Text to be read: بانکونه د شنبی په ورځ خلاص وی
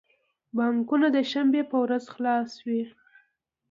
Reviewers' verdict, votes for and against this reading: accepted, 2, 0